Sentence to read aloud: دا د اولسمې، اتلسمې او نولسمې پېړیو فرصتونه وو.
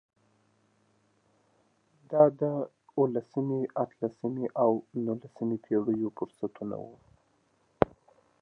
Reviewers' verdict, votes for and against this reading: rejected, 0, 2